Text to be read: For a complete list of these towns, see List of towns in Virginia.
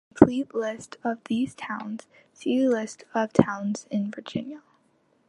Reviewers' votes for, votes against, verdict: 1, 2, rejected